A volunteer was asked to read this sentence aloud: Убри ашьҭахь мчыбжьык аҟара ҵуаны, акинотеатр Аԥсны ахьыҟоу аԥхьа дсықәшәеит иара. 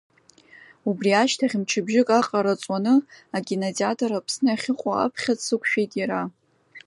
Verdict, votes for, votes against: accepted, 2, 0